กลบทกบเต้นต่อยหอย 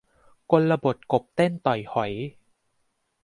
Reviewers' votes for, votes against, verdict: 2, 0, accepted